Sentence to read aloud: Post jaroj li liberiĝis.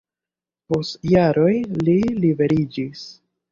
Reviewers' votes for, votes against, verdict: 2, 1, accepted